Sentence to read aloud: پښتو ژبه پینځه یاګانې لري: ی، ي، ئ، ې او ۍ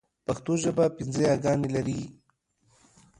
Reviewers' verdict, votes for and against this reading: rejected, 1, 2